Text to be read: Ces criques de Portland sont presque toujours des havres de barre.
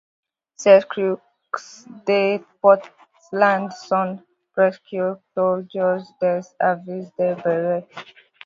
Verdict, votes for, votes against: rejected, 0, 3